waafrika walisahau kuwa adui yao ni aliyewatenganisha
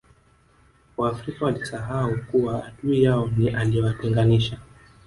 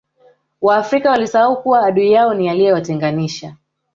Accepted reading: second